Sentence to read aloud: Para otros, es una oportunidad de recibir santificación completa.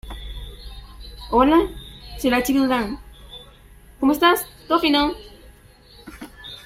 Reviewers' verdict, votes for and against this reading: rejected, 0, 2